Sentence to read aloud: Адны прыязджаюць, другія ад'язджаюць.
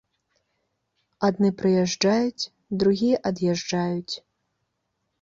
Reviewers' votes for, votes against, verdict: 3, 0, accepted